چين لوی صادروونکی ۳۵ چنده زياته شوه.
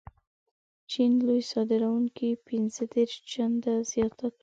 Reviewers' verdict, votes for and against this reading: rejected, 0, 2